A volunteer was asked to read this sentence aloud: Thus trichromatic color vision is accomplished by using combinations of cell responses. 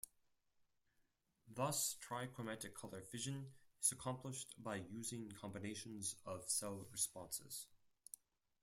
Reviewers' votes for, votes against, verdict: 2, 4, rejected